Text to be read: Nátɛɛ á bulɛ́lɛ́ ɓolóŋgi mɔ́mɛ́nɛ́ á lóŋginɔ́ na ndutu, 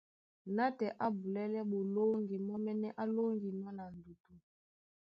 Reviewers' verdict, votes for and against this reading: accepted, 3, 0